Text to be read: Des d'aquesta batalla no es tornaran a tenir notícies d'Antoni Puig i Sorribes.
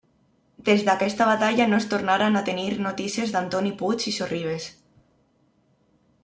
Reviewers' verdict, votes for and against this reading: accepted, 2, 1